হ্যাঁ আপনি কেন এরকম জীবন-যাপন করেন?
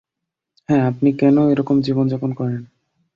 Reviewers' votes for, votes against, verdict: 5, 0, accepted